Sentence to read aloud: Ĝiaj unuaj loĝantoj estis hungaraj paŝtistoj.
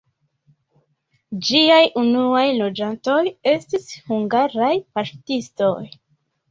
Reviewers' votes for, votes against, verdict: 2, 0, accepted